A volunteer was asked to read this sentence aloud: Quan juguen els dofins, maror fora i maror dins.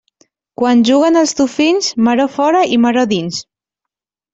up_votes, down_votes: 2, 0